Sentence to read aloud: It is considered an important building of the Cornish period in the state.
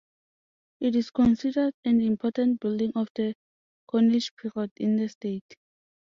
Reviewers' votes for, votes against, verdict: 2, 0, accepted